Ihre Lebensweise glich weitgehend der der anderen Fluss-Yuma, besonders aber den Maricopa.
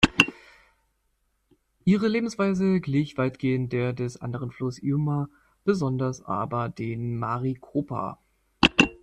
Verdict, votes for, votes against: rejected, 2, 3